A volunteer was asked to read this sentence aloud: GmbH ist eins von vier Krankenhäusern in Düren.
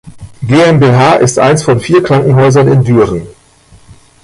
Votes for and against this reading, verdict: 0, 2, rejected